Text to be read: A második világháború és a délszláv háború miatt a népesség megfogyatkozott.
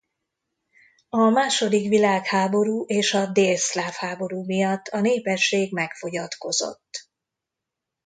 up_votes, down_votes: 2, 0